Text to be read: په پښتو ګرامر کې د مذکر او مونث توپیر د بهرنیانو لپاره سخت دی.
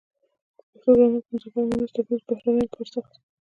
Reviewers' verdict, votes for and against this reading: rejected, 1, 2